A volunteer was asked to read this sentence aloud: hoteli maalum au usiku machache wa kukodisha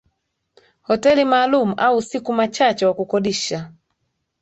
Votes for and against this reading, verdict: 2, 0, accepted